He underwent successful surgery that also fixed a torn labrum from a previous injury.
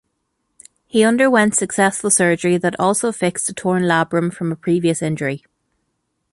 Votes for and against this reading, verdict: 2, 0, accepted